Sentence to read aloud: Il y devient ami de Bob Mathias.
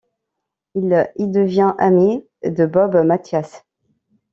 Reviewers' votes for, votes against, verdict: 2, 0, accepted